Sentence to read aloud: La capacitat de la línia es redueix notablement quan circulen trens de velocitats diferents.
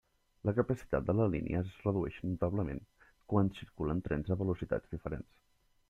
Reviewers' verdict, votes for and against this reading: rejected, 1, 2